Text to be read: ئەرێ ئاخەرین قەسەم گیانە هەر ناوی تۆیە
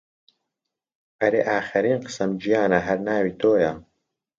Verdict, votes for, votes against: accepted, 2, 0